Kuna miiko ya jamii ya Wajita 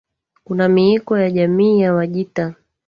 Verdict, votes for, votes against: rejected, 1, 2